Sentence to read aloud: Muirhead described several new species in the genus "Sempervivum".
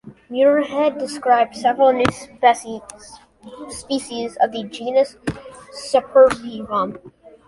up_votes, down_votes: 1, 2